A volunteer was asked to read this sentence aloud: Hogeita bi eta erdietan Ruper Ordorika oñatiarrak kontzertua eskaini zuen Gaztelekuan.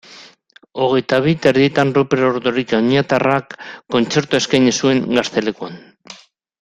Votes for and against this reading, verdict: 2, 0, accepted